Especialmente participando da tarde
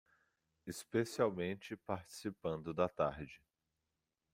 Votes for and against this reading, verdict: 1, 2, rejected